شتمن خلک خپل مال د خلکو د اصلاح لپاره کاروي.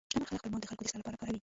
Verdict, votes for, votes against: rejected, 1, 2